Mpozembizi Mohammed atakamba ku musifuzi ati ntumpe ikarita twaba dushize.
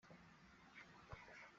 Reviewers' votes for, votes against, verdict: 0, 2, rejected